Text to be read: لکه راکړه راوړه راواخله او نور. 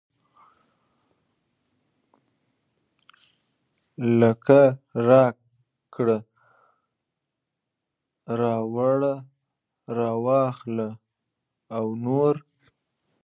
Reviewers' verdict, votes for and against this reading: rejected, 0, 2